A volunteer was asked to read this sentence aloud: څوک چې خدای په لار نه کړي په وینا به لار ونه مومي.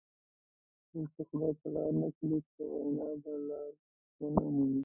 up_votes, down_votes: 0, 2